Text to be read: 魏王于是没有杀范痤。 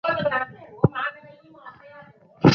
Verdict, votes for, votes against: rejected, 0, 2